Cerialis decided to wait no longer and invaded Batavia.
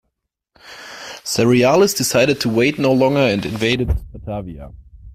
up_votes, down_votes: 1, 2